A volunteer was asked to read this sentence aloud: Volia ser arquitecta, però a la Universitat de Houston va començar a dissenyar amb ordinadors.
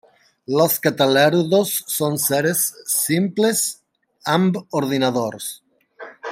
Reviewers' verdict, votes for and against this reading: rejected, 0, 2